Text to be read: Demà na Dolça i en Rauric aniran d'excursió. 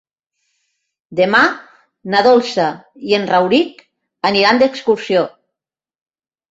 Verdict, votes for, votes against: accepted, 3, 0